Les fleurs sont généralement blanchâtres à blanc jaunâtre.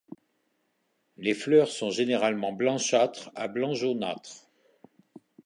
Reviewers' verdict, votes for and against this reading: accepted, 2, 0